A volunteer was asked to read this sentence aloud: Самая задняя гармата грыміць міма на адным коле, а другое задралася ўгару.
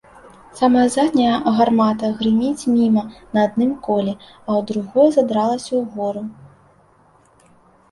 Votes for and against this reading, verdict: 0, 2, rejected